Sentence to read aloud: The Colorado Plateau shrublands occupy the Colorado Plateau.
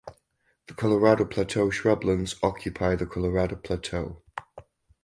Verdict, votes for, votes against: accepted, 4, 0